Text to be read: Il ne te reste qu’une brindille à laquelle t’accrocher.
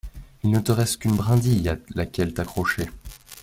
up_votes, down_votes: 2, 0